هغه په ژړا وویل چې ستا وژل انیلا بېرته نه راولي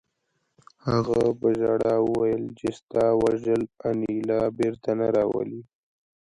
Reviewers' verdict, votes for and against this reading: accepted, 2, 0